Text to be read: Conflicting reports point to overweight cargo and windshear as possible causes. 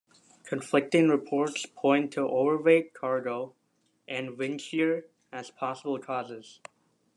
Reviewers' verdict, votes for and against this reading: accepted, 2, 0